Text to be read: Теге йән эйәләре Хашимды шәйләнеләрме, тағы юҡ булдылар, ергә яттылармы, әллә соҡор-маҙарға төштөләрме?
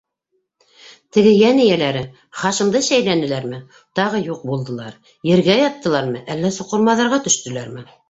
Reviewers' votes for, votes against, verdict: 2, 0, accepted